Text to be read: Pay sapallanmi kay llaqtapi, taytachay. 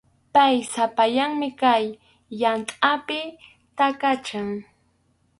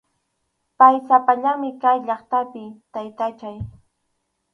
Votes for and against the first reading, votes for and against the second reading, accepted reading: 0, 2, 4, 0, second